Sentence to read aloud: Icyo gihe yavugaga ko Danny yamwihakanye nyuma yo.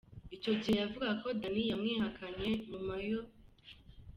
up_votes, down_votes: 2, 0